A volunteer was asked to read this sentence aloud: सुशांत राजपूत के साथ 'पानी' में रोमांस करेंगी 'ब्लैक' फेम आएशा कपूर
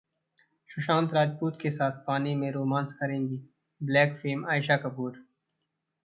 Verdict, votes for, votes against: accepted, 2, 0